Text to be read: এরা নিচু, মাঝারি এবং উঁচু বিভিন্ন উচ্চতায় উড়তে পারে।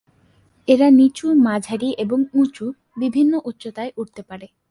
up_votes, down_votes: 2, 0